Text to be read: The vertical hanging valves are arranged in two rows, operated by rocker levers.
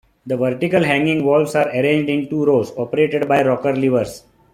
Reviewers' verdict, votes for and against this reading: rejected, 1, 2